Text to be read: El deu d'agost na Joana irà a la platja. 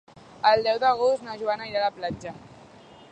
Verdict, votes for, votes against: accepted, 3, 0